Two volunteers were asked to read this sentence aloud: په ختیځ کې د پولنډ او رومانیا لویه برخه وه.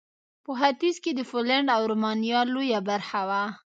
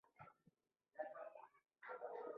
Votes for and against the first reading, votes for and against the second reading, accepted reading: 3, 0, 0, 2, first